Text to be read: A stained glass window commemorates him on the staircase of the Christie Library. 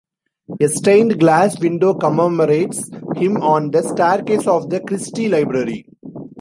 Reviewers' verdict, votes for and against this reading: accepted, 2, 0